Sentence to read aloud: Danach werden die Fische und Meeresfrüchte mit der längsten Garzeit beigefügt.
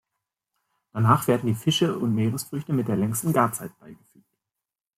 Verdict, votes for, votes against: rejected, 0, 2